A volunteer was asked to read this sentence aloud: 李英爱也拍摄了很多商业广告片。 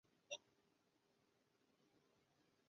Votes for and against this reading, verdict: 2, 1, accepted